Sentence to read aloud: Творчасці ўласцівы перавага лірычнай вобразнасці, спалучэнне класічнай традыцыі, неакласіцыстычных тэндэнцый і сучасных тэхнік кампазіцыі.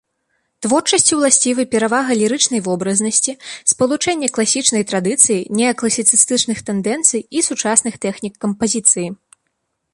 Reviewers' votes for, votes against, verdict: 2, 0, accepted